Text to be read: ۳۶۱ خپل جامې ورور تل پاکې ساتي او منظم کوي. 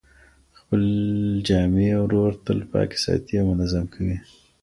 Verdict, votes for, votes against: rejected, 0, 2